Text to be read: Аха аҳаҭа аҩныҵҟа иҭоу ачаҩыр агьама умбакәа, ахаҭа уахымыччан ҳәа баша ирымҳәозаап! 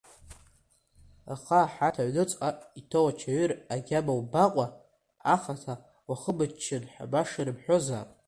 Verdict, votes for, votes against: accepted, 2, 1